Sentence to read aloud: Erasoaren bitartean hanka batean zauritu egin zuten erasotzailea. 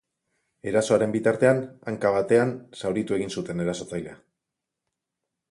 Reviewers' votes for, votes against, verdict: 4, 0, accepted